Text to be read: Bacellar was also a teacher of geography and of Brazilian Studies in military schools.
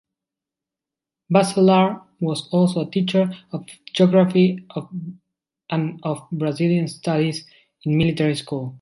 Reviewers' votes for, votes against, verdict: 2, 1, accepted